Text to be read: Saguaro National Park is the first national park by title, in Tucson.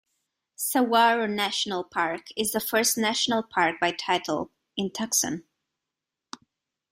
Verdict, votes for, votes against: rejected, 1, 2